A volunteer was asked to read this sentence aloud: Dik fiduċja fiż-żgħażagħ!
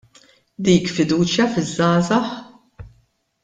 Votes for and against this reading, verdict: 2, 0, accepted